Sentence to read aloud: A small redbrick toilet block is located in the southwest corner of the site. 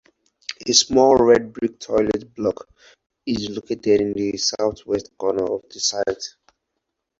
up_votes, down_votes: 0, 4